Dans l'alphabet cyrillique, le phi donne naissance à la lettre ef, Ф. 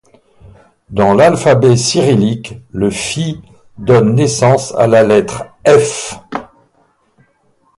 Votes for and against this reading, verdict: 2, 2, rejected